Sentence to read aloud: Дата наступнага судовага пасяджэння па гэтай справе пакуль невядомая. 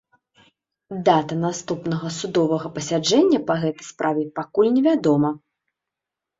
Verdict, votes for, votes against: rejected, 1, 2